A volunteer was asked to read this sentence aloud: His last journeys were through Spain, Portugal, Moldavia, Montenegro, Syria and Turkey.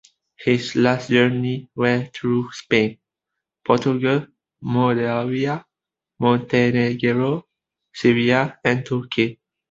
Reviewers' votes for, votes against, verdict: 0, 2, rejected